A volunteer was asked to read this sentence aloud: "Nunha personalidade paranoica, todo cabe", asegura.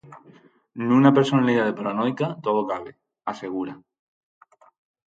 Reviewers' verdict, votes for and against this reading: rejected, 2, 2